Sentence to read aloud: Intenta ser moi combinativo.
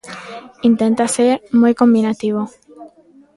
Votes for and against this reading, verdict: 2, 0, accepted